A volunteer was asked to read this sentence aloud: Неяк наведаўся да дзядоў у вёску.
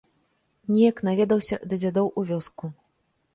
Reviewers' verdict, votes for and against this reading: accepted, 3, 0